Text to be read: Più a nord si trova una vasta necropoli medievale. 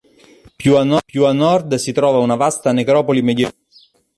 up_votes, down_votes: 0, 2